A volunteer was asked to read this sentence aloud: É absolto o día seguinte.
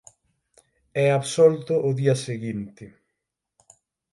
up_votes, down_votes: 6, 0